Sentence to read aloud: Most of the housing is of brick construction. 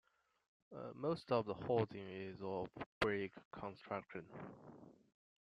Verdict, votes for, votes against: accepted, 2, 0